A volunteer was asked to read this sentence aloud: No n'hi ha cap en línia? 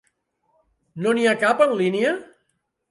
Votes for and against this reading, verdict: 2, 0, accepted